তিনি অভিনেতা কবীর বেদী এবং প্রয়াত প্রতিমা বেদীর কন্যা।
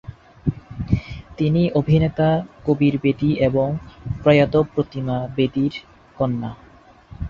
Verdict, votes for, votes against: accepted, 4, 2